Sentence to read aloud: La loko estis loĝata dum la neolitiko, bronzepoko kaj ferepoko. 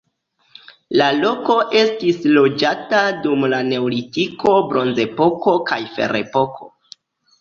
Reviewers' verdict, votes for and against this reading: accepted, 2, 1